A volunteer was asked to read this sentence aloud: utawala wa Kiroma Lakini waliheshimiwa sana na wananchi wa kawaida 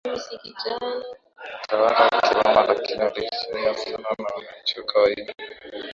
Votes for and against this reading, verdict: 2, 0, accepted